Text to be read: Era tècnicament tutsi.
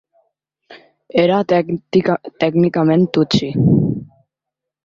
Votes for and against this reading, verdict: 1, 2, rejected